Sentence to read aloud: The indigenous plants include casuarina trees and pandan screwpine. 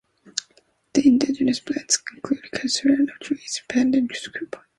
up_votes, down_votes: 1, 2